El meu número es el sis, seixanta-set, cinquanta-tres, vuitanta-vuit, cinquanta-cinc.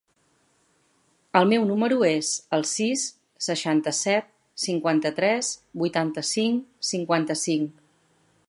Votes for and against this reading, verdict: 0, 2, rejected